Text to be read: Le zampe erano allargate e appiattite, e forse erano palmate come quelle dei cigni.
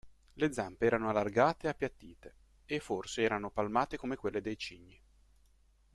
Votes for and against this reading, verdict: 2, 0, accepted